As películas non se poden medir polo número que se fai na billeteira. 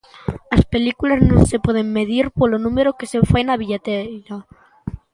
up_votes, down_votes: 1, 2